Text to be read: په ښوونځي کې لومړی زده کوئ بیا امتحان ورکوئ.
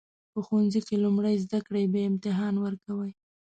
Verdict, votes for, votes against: rejected, 1, 2